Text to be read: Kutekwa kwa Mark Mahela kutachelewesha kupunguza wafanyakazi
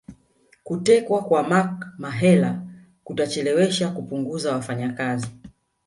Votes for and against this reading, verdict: 2, 0, accepted